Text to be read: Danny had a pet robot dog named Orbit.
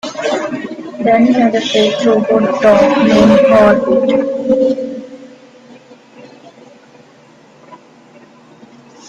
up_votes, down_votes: 1, 2